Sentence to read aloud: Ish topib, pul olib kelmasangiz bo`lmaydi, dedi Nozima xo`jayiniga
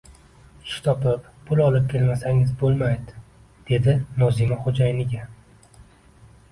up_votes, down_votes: 0, 2